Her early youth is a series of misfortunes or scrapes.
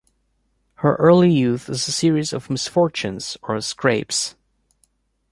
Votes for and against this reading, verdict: 2, 0, accepted